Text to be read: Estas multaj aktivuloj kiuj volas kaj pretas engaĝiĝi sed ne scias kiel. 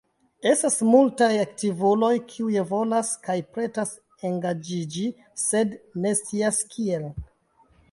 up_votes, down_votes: 3, 0